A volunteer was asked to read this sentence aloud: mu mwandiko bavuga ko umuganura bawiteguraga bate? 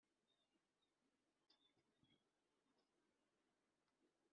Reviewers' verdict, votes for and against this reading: rejected, 1, 2